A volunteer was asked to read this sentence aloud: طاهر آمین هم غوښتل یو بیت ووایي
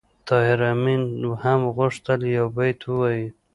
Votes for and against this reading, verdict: 2, 0, accepted